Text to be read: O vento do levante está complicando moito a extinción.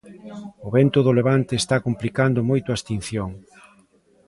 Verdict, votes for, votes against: accepted, 2, 0